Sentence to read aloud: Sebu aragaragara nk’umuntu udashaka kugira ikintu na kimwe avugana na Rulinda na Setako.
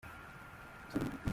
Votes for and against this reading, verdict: 0, 2, rejected